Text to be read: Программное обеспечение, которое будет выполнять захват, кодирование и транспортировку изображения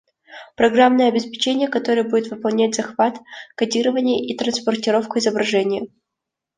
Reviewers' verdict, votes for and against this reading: accepted, 2, 0